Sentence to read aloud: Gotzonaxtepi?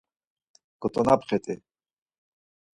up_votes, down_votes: 2, 4